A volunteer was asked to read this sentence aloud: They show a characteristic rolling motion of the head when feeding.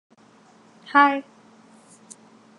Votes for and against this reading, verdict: 0, 2, rejected